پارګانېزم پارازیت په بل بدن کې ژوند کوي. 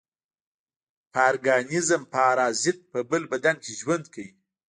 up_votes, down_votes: 1, 2